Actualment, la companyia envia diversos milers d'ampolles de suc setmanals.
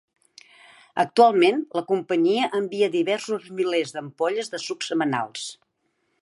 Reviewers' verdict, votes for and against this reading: rejected, 2, 3